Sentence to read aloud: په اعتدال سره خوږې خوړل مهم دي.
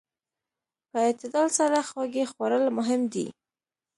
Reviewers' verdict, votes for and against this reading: accepted, 2, 0